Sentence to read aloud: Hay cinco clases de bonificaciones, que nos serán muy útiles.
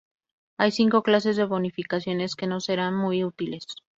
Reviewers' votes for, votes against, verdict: 2, 0, accepted